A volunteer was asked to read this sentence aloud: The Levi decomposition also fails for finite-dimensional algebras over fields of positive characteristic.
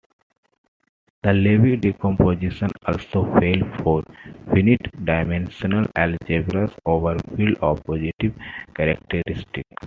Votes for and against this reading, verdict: 0, 2, rejected